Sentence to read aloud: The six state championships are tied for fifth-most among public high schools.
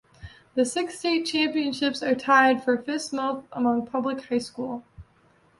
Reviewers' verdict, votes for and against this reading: rejected, 1, 2